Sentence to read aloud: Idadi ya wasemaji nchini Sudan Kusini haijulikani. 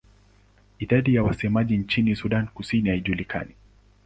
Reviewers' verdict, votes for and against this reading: accepted, 2, 0